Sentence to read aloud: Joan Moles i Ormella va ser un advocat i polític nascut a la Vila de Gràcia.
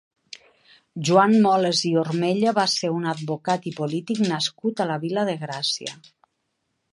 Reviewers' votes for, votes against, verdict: 3, 0, accepted